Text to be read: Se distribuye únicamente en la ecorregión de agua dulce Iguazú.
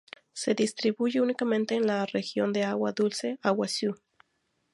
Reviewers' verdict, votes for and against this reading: rejected, 0, 2